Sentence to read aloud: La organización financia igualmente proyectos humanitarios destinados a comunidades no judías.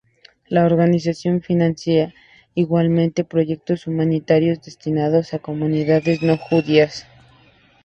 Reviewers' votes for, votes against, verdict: 2, 0, accepted